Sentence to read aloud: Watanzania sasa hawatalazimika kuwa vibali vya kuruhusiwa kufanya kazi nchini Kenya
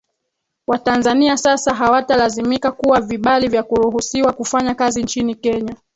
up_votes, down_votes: 2, 1